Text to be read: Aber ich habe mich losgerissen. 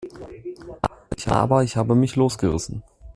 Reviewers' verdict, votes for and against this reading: rejected, 0, 2